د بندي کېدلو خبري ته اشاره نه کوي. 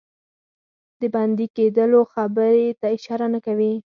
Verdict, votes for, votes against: accepted, 4, 0